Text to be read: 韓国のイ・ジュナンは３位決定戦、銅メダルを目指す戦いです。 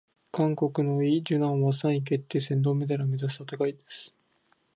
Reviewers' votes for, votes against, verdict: 0, 2, rejected